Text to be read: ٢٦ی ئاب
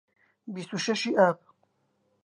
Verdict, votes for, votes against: rejected, 0, 2